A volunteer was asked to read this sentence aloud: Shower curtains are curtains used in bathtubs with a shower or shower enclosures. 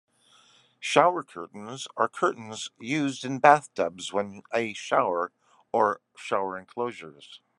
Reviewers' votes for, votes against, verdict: 1, 2, rejected